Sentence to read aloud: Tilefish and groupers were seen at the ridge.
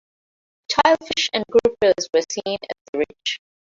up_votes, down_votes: 0, 2